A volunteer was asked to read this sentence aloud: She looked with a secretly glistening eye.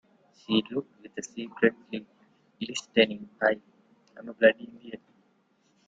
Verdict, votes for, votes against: rejected, 0, 2